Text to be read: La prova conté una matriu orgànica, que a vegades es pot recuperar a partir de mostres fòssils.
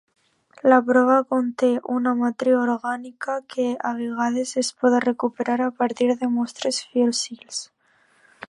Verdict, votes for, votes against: rejected, 0, 2